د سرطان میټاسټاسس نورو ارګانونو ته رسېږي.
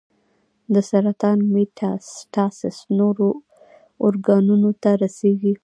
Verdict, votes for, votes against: accepted, 2, 0